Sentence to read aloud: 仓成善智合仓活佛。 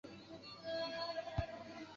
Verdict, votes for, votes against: rejected, 2, 3